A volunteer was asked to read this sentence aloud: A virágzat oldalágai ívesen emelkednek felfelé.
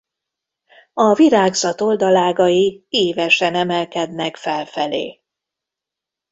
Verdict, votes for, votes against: rejected, 1, 2